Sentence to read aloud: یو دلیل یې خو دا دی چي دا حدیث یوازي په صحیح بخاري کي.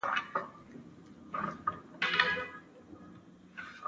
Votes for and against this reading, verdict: 0, 2, rejected